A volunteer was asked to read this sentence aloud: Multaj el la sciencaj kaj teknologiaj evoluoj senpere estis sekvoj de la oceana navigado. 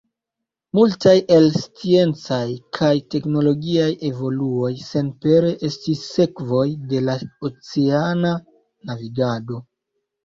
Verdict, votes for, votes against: rejected, 1, 2